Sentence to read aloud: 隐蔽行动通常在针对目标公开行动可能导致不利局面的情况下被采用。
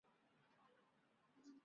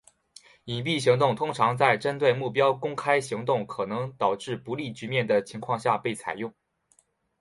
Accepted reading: second